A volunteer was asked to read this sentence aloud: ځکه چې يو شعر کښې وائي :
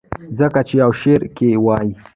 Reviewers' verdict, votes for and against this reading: accepted, 2, 0